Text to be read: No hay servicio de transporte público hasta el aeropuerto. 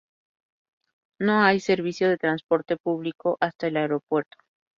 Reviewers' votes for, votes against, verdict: 2, 0, accepted